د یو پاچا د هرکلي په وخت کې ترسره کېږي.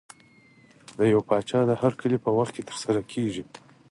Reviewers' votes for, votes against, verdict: 4, 0, accepted